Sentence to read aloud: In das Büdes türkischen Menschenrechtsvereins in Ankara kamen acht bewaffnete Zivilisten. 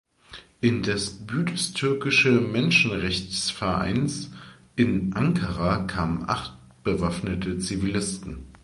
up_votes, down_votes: 0, 2